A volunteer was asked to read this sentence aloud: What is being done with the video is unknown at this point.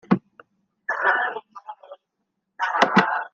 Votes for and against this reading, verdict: 0, 2, rejected